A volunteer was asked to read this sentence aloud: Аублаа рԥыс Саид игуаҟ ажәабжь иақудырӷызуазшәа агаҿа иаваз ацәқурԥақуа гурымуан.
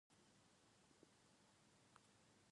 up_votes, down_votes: 1, 2